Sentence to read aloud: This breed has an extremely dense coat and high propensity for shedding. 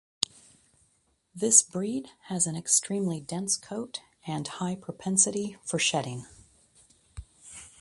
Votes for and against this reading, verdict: 2, 0, accepted